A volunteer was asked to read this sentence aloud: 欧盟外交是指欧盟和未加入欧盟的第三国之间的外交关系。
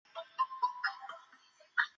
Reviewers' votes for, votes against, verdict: 0, 4, rejected